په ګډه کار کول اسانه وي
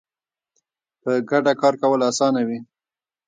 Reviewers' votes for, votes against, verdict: 2, 3, rejected